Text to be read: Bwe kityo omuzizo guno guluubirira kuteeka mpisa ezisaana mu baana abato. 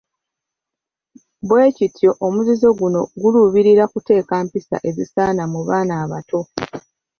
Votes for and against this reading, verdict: 2, 1, accepted